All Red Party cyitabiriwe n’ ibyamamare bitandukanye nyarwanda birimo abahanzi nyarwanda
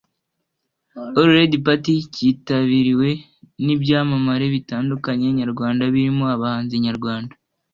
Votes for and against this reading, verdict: 2, 1, accepted